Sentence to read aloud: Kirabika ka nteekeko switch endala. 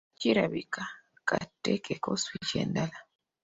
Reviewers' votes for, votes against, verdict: 2, 0, accepted